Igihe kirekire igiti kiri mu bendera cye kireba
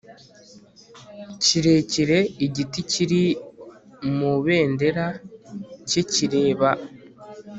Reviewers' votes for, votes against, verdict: 0, 2, rejected